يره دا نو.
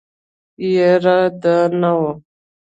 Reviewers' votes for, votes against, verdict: 2, 0, accepted